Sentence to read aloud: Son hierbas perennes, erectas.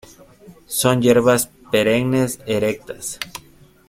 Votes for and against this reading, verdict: 2, 0, accepted